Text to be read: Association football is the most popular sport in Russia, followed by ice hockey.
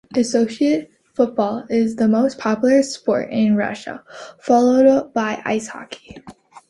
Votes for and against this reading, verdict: 0, 2, rejected